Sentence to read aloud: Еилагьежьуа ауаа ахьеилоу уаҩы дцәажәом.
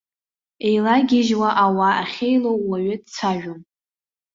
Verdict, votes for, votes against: accepted, 2, 0